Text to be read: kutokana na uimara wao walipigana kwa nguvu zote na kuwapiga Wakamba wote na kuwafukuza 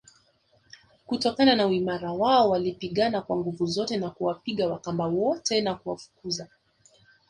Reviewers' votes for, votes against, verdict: 2, 0, accepted